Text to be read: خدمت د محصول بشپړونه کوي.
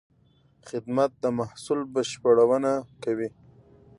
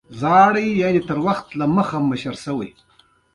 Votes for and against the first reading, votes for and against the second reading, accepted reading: 2, 0, 1, 2, first